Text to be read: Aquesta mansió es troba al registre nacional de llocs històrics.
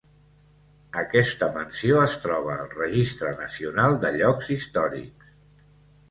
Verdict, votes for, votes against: accepted, 3, 0